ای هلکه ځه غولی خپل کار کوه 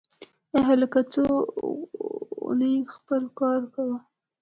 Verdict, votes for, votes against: accepted, 2, 0